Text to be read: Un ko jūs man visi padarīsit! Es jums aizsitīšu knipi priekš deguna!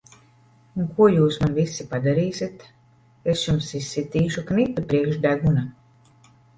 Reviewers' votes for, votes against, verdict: 0, 2, rejected